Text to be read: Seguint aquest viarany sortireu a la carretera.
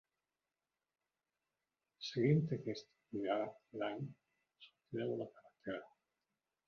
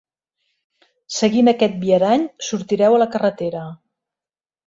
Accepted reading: second